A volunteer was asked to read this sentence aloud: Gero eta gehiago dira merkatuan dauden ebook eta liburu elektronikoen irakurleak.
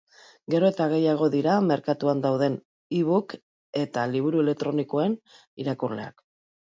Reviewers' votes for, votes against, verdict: 3, 1, accepted